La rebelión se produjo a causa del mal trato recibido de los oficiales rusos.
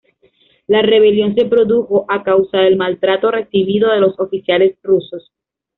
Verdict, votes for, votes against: accepted, 2, 0